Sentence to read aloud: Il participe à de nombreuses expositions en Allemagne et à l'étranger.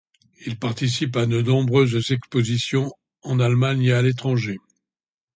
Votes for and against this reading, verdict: 2, 0, accepted